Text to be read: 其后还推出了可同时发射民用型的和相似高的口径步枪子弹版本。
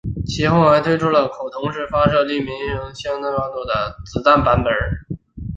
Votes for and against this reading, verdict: 1, 2, rejected